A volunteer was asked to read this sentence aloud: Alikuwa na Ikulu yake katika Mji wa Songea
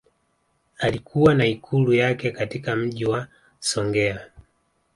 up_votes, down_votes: 2, 0